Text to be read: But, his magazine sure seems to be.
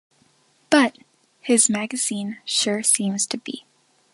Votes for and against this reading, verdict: 2, 0, accepted